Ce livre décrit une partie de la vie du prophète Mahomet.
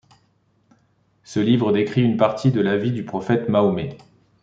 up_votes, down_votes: 2, 0